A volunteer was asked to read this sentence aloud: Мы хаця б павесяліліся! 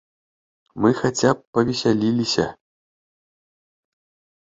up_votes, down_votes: 2, 0